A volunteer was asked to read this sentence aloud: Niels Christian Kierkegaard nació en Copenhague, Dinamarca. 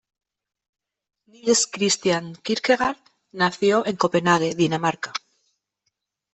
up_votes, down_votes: 1, 2